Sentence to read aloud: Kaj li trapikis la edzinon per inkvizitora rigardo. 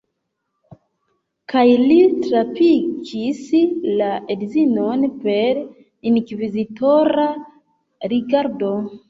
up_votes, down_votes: 1, 2